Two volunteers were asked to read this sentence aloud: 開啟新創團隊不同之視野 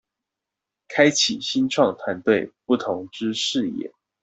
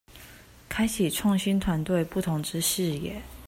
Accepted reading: first